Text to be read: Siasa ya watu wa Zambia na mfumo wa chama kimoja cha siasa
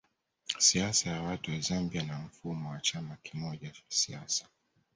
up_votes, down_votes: 1, 2